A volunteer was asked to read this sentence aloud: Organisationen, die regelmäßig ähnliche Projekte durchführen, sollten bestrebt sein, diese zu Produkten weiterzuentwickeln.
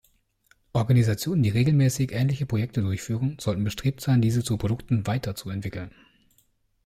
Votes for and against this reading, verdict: 2, 0, accepted